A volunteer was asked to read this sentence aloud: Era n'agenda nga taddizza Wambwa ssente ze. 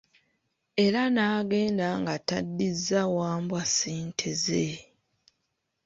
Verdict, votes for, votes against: accepted, 2, 0